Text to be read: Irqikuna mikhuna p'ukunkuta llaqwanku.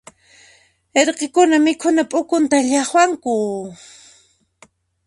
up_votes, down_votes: 2, 1